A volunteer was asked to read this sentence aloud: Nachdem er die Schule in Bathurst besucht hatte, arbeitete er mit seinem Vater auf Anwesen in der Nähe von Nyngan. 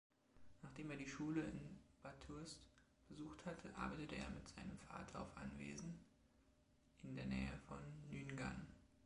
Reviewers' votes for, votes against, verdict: 2, 1, accepted